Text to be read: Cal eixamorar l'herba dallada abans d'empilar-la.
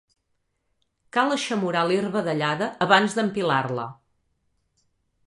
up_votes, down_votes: 3, 0